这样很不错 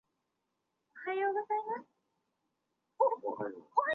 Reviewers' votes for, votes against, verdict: 1, 2, rejected